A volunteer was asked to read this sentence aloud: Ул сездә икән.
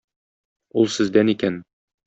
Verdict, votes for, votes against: rejected, 0, 2